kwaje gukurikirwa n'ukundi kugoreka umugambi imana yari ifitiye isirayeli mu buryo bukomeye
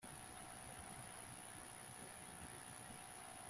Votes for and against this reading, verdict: 0, 2, rejected